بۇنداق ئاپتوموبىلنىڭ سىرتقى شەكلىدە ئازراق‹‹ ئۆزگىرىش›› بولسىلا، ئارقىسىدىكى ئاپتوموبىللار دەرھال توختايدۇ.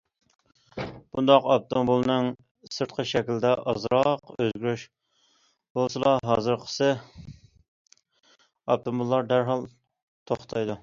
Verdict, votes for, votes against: rejected, 0, 2